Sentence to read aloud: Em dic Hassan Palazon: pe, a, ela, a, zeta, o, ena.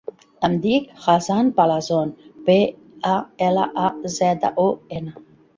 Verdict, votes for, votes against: rejected, 1, 2